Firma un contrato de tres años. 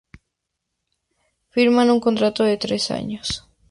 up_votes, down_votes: 2, 0